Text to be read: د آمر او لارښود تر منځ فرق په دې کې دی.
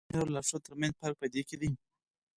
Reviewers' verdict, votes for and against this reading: rejected, 2, 4